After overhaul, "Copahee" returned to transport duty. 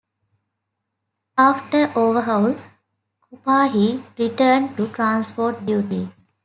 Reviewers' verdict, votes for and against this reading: rejected, 1, 2